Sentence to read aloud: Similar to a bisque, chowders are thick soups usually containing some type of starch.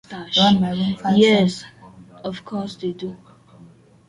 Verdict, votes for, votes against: rejected, 1, 2